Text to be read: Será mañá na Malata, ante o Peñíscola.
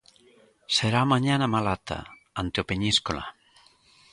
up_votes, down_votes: 2, 0